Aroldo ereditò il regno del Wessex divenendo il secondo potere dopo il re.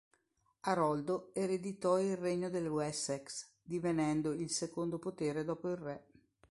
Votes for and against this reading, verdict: 3, 0, accepted